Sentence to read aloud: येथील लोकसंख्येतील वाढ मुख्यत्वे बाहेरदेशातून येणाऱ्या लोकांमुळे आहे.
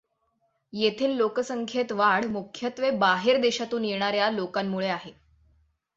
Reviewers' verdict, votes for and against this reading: accepted, 6, 0